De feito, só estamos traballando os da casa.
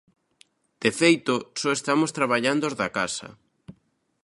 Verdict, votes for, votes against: accepted, 2, 0